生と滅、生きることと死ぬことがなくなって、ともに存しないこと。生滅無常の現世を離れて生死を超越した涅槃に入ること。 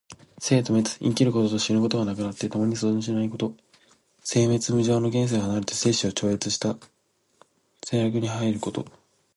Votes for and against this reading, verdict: 0, 2, rejected